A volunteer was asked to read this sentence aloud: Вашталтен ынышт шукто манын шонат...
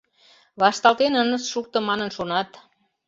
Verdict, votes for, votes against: accepted, 2, 0